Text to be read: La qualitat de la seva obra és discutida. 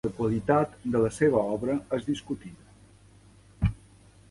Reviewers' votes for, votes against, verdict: 3, 0, accepted